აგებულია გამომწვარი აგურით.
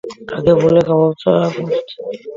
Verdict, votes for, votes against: rejected, 0, 2